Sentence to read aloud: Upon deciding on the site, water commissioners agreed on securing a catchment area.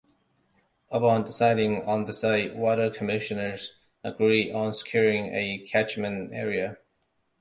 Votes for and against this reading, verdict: 2, 0, accepted